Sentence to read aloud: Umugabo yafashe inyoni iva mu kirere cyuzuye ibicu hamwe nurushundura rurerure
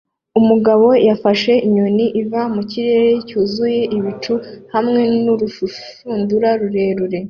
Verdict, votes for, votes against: accepted, 2, 0